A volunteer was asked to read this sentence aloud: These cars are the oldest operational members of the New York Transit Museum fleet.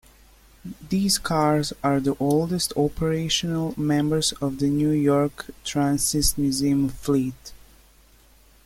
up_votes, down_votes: 1, 2